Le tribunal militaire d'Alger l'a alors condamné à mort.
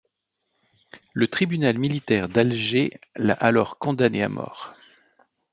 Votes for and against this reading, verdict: 2, 0, accepted